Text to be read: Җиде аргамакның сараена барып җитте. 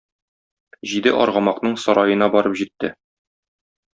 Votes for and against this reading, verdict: 2, 0, accepted